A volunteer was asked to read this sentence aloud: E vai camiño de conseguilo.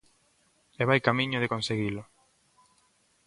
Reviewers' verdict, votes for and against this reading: accepted, 2, 0